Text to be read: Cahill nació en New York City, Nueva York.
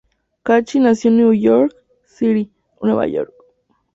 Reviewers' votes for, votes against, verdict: 2, 0, accepted